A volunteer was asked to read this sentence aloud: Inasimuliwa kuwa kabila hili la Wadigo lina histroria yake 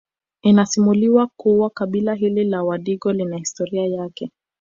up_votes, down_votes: 1, 2